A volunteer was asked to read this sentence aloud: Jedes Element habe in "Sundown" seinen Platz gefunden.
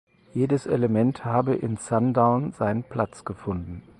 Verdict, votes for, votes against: accepted, 4, 0